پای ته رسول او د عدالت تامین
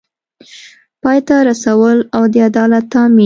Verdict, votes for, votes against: accepted, 2, 0